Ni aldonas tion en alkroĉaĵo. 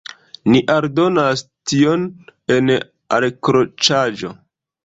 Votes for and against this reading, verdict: 0, 2, rejected